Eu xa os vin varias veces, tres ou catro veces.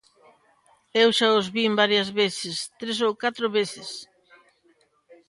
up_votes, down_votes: 2, 0